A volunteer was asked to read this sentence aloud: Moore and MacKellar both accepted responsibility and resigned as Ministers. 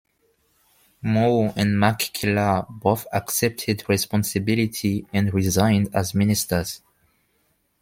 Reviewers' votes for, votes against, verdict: 2, 0, accepted